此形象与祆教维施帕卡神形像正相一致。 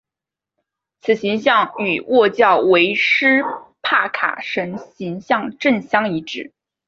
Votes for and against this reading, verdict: 5, 0, accepted